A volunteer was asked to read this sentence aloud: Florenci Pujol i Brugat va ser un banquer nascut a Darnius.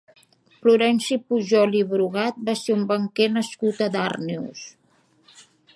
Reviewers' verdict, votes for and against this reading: accepted, 2, 0